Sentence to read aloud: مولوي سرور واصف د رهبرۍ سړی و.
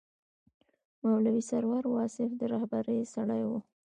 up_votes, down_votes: 2, 1